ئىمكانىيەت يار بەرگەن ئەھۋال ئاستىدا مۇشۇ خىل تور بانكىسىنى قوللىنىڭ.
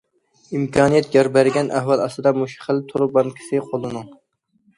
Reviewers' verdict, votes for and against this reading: rejected, 0, 2